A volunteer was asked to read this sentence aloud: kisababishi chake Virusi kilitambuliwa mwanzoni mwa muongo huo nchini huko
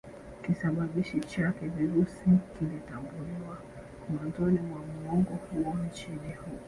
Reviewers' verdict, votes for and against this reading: rejected, 1, 2